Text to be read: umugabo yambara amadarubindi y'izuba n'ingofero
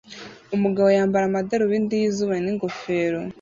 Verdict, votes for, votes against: accepted, 2, 0